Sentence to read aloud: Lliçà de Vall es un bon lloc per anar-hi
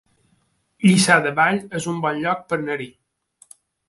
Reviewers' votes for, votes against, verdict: 1, 2, rejected